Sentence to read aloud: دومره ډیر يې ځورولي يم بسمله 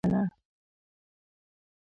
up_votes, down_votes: 0, 2